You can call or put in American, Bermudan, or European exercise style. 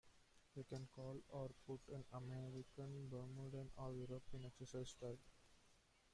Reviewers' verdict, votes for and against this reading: accepted, 2, 1